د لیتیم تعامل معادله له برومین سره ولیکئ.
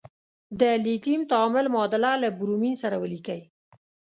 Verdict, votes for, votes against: accepted, 2, 0